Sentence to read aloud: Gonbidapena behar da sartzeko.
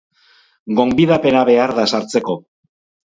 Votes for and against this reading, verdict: 4, 0, accepted